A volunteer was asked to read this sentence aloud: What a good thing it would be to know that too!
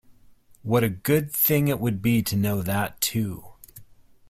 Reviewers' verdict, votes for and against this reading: accepted, 2, 0